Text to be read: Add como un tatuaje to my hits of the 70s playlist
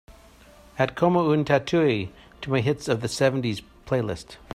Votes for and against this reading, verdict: 0, 2, rejected